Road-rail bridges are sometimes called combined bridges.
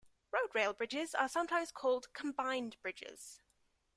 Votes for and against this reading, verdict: 2, 0, accepted